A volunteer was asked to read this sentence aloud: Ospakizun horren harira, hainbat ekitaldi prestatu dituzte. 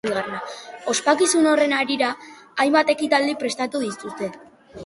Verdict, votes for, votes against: rejected, 0, 2